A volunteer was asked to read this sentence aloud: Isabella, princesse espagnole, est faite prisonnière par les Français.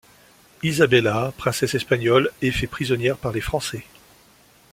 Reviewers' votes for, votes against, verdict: 1, 2, rejected